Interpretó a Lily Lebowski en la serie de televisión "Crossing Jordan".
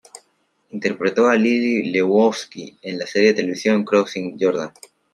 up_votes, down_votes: 2, 0